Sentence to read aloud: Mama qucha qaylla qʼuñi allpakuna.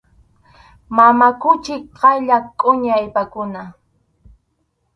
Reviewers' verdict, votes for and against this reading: rejected, 2, 2